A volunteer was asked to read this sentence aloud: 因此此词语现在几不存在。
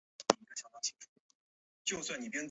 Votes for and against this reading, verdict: 3, 8, rejected